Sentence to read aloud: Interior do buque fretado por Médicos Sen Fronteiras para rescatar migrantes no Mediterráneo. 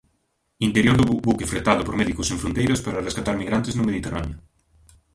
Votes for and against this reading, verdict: 0, 2, rejected